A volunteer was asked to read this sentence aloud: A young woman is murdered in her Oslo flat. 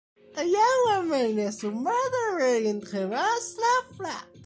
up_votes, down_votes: 1, 2